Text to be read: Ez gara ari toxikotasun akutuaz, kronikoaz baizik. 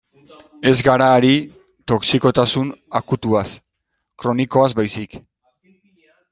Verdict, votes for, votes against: accepted, 2, 0